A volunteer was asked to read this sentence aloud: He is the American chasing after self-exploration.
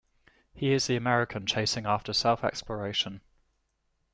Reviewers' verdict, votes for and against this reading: accepted, 2, 0